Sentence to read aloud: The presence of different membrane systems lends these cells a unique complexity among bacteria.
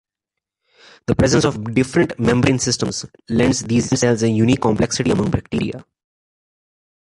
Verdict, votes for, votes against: accepted, 2, 0